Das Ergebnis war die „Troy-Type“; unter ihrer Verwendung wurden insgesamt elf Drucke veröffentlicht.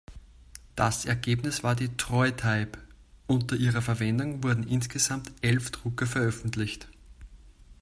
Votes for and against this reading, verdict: 2, 0, accepted